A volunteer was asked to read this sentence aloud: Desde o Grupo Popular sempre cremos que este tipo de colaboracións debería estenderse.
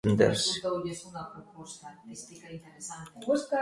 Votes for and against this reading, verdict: 0, 2, rejected